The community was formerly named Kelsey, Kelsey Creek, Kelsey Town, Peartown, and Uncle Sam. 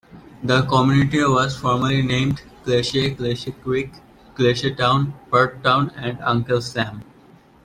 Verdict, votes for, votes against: accepted, 2, 0